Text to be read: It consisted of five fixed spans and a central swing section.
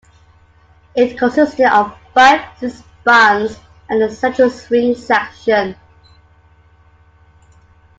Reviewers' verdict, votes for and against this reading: accepted, 2, 1